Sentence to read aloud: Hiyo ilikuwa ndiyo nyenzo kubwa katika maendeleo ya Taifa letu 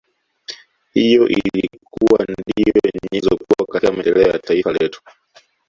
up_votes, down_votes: 2, 1